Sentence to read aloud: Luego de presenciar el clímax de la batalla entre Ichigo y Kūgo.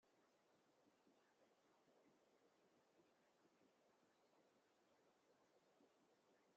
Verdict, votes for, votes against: rejected, 0, 2